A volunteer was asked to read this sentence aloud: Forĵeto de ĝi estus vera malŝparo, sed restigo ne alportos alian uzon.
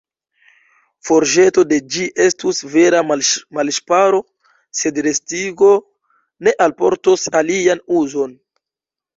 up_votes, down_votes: 1, 3